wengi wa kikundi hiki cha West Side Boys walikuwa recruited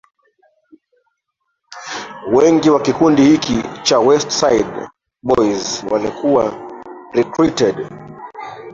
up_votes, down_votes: 1, 2